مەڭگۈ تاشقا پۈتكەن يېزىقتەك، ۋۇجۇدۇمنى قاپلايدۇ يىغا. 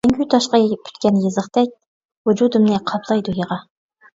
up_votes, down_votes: 0, 2